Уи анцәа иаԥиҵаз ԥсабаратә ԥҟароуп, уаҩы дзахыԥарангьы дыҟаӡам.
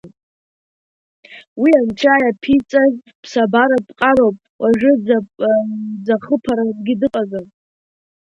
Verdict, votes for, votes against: rejected, 1, 2